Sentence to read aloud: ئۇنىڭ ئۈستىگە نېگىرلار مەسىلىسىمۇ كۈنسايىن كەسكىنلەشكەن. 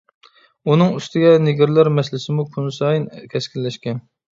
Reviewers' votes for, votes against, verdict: 2, 0, accepted